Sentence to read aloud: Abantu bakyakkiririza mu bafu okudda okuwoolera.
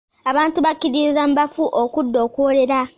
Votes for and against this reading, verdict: 0, 2, rejected